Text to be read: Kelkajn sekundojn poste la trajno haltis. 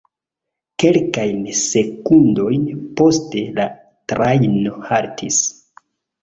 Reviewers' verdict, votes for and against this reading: accepted, 2, 0